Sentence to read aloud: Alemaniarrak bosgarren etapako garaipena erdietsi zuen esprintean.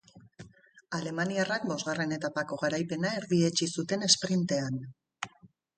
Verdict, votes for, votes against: accepted, 6, 0